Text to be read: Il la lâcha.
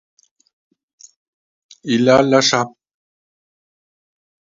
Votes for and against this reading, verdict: 2, 0, accepted